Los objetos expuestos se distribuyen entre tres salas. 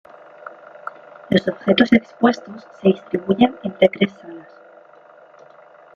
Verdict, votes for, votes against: rejected, 0, 2